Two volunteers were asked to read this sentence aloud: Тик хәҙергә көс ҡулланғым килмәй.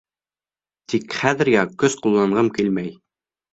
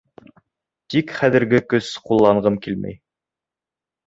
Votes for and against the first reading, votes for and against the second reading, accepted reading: 2, 0, 0, 2, first